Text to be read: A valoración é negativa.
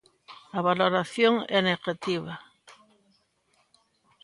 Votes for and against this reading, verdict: 2, 0, accepted